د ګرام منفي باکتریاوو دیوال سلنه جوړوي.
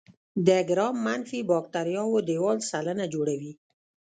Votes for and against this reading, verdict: 2, 0, accepted